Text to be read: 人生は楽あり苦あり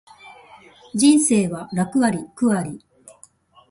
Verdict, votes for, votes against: accepted, 2, 0